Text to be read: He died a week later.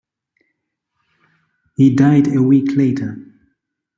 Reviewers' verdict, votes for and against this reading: accepted, 2, 0